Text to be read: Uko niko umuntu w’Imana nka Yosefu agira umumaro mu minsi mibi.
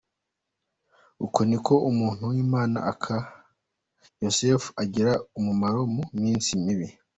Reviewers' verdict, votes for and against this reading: rejected, 0, 2